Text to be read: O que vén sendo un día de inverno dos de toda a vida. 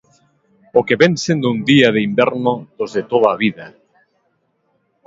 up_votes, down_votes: 2, 0